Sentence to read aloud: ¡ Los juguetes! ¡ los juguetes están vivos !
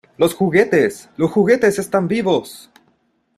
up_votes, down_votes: 2, 0